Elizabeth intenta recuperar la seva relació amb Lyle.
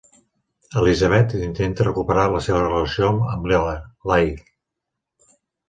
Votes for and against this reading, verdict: 0, 2, rejected